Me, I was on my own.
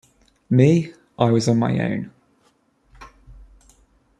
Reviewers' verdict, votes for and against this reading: accepted, 2, 0